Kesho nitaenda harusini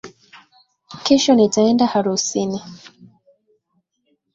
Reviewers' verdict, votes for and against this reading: accepted, 2, 1